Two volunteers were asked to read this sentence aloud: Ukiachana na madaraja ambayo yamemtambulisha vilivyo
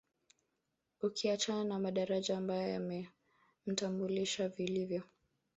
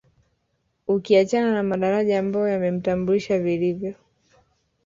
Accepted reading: second